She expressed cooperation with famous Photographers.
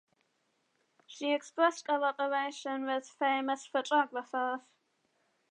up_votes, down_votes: 0, 2